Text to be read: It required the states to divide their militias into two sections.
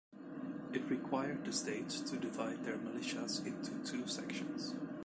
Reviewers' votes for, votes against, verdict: 2, 0, accepted